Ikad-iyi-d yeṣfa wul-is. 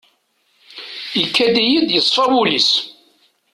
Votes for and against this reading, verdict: 2, 0, accepted